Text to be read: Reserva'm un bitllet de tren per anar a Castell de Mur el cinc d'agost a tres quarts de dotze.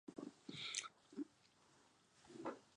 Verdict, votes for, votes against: rejected, 0, 2